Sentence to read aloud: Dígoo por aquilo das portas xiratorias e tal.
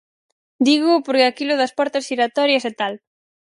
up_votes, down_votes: 2, 2